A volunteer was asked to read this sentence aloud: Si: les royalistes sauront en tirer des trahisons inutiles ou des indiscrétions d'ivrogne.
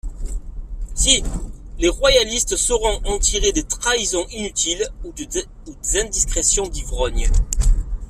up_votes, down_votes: 1, 2